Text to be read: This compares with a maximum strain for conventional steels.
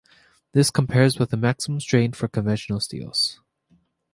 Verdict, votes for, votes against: accepted, 3, 0